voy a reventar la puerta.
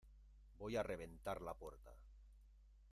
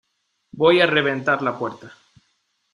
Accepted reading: second